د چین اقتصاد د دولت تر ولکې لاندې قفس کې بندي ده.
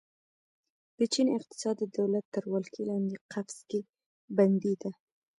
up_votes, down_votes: 2, 0